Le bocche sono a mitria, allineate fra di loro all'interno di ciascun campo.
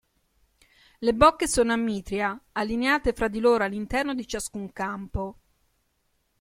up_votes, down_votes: 2, 0